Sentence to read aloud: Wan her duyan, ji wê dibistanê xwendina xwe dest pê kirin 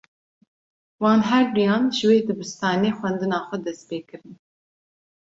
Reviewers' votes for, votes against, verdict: 2, 0, accepted